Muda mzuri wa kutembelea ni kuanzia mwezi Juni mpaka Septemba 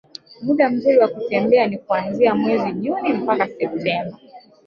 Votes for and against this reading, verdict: 2, 1, accepted